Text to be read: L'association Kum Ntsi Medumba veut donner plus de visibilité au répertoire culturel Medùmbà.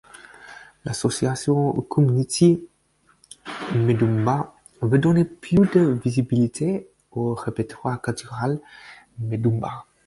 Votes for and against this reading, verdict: 4, 0, accepted